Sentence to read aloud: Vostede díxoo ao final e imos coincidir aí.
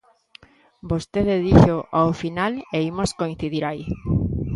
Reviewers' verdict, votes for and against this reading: accepted, 2, 0